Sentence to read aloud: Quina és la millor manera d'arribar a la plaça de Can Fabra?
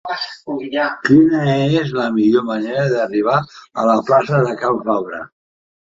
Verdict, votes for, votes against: rejected, 1, 2